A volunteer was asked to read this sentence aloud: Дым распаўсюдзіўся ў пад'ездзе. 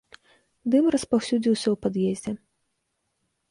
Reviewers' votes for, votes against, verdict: 2, 0, accepted